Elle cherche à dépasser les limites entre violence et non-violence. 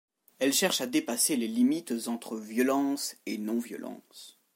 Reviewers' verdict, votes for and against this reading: accepted, 2, 0